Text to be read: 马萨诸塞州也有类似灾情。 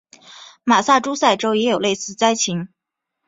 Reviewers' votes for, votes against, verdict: 3, 0, accepted